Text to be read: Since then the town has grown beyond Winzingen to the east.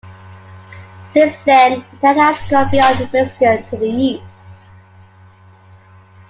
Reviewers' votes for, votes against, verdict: 0, 2, rejected